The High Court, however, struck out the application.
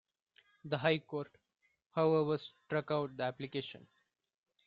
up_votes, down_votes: 2, 1